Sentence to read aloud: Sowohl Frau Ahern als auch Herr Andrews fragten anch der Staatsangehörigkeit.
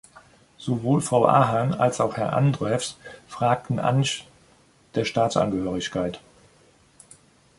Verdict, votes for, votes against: rejected, 0, 2